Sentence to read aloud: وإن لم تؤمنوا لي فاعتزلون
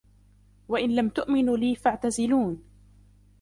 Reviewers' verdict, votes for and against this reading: accepted, 2, 0